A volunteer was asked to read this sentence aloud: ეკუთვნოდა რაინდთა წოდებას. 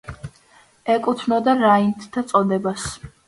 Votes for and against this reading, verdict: 2, 0, accepted